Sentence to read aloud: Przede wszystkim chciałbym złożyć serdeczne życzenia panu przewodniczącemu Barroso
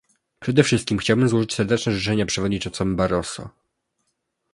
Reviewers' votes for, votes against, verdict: 2, 3, rejected